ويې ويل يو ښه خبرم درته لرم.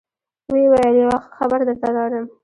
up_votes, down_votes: 1, 2